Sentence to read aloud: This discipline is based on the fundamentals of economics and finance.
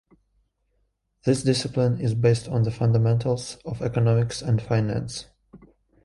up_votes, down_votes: 1, 2